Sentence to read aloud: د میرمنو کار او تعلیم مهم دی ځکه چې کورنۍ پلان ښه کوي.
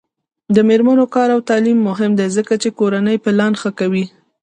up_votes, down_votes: 1, 2